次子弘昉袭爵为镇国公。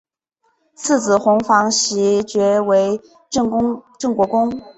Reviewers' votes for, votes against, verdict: 0, 2, rejected